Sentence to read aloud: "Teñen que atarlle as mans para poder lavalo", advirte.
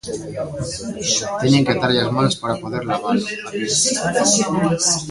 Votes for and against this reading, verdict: 0, 2, rejected